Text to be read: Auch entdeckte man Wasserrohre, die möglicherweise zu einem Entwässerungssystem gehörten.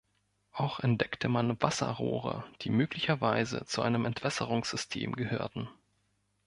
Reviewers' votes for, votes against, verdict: 2, 0, accepted